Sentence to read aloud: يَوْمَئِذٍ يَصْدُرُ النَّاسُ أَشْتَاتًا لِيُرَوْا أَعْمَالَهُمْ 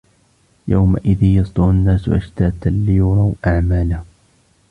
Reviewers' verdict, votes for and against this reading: rejected, 0, 2